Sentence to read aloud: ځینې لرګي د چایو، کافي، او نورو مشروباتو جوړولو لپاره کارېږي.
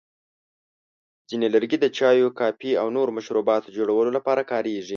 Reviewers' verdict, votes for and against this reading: accepted, 2, 0